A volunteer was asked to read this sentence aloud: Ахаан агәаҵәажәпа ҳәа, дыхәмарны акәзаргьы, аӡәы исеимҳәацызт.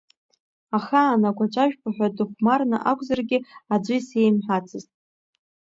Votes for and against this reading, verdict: 2, 1, accepted